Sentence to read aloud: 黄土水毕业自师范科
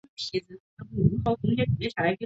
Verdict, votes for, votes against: rejected, 0, 4